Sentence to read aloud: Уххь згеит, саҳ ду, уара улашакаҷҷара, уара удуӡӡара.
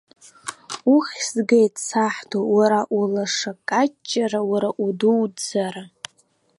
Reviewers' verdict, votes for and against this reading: rejected, 0, 2